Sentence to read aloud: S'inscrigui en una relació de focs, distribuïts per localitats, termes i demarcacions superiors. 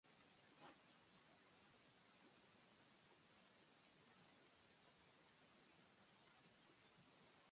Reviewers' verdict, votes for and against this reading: rejected, 0, 2